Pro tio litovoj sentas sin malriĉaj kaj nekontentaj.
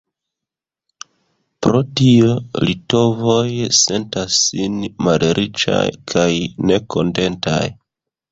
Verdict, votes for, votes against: accepted, 2, 1